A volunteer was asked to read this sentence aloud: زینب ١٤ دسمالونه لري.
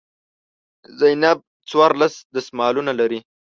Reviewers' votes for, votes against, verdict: 0, 2, rejected